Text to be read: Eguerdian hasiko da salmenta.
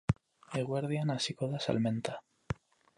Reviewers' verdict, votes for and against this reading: accepted, 4, 0